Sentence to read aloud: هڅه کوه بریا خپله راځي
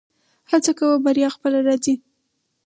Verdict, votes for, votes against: accepted, 2, 0